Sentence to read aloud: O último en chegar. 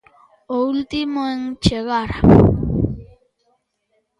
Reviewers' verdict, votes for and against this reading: accepted, 2, 1